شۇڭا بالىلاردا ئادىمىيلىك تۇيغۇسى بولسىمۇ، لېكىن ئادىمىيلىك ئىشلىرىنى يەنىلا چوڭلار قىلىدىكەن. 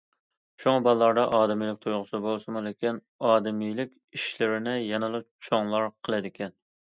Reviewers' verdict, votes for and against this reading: accepted, 2, 0